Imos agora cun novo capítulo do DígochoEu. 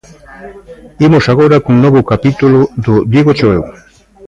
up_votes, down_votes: 2, 0